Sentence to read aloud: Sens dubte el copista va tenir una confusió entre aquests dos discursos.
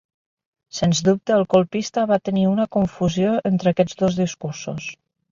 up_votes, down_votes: 1, 2